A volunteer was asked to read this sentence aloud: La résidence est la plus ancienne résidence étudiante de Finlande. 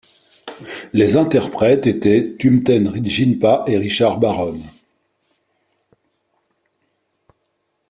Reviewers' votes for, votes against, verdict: 1, 2, rejected